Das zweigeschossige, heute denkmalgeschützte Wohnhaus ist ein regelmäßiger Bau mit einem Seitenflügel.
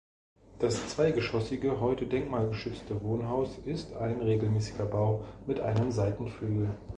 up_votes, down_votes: 2, 0